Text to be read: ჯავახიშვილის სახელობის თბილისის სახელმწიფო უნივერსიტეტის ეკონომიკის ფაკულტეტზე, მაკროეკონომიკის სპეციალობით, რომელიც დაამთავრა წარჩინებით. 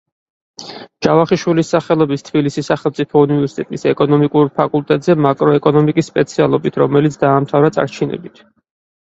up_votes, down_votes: 0, 4